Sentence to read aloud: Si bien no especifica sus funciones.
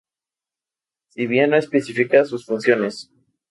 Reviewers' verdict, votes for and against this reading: accepted, 2, 0